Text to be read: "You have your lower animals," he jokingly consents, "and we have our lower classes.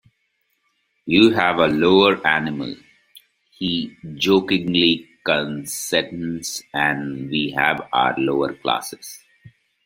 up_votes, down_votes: 0, 2